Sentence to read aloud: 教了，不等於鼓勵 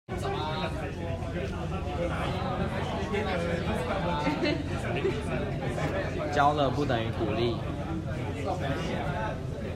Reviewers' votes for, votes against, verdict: 1, 2, rejected